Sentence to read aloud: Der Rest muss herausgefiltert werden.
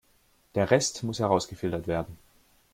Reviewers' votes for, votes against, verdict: 2, 0, accepted